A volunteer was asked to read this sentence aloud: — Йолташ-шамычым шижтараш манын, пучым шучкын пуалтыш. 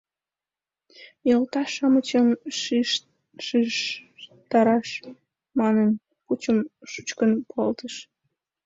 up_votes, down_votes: 0, 2